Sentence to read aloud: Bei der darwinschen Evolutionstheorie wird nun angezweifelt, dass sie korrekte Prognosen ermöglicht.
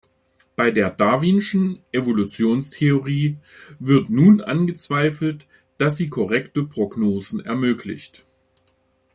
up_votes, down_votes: 2, 0